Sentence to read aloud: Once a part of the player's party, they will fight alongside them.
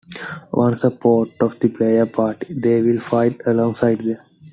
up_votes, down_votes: 1, 2